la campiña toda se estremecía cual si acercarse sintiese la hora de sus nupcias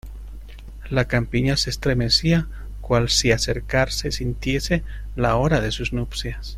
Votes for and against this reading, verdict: 1, 2, rejected